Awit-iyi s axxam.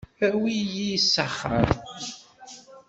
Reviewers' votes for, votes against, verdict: 1, 2, rejected